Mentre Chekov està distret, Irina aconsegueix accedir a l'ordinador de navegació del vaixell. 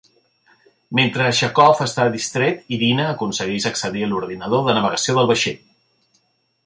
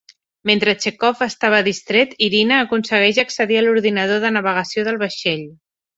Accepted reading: first